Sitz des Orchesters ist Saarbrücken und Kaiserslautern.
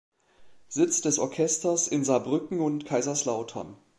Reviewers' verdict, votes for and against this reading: rejected, 0, 2